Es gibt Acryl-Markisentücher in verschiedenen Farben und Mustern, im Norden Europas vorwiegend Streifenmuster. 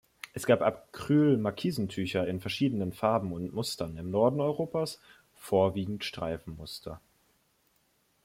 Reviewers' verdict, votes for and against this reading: rejected, 0, 2